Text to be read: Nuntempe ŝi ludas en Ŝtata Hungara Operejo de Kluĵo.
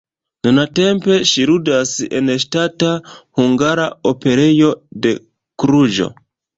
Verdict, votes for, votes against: rejected, 1, 2